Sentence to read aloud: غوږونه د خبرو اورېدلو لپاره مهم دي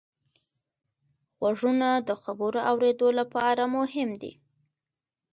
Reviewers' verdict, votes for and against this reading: accepted, 2, 0